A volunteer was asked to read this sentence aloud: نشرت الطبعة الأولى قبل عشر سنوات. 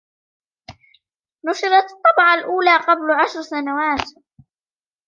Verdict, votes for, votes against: rejected, 1, 2